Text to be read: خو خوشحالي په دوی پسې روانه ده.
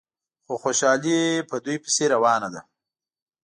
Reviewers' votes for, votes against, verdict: 2, 0, accepted